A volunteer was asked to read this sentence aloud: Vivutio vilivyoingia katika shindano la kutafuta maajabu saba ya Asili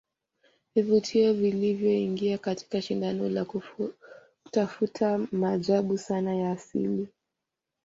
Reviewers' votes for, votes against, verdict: 0, 2, rejected